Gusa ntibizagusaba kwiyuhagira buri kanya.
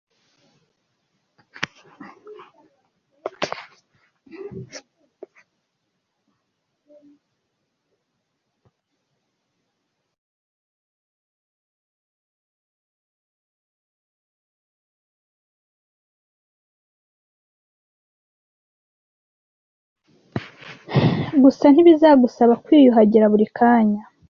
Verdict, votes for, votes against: rejected, 0, 2